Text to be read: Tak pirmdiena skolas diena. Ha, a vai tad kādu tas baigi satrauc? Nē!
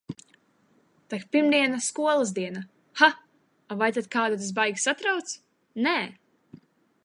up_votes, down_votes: 2, 0